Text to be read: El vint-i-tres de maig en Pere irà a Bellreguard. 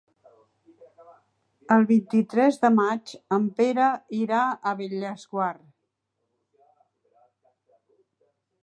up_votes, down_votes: 0, 3